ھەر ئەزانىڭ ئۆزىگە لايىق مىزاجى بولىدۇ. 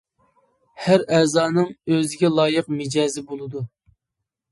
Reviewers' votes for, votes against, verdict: 0, 2, rejected